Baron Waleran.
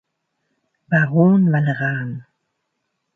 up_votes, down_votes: 2, 0